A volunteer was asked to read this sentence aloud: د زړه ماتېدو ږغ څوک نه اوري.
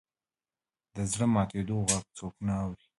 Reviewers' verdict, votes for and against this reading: rejected, 1, 2